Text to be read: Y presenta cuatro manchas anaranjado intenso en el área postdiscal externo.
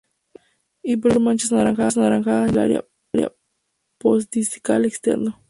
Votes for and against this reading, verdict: 0, 2, rejected